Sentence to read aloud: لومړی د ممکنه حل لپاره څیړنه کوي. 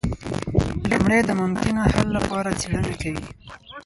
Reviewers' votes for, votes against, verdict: 2, 4, rejected